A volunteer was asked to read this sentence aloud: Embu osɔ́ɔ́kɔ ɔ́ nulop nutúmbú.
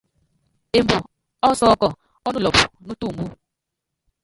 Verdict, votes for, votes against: rejected, 0, 2